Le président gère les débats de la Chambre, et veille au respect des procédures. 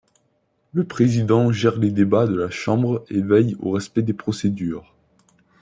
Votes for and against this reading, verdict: 2, 0, accepted